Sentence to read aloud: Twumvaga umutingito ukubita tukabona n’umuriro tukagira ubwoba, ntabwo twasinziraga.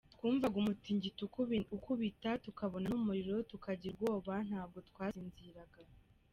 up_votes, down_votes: 2, 3